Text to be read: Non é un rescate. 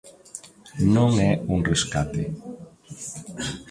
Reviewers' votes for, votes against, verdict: 2, 0, accepted